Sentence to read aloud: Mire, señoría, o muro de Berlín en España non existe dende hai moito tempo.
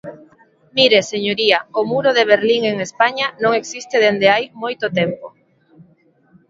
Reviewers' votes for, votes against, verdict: 2, 1, accepted